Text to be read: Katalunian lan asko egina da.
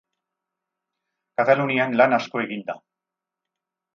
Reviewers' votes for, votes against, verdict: 0, 4, rejected